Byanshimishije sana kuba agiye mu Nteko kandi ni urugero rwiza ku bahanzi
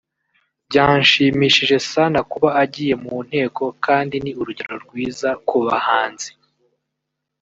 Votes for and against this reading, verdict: 0, 2, rejected